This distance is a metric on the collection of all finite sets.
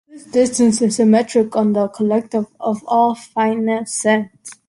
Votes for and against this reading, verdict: 2, 1, accepted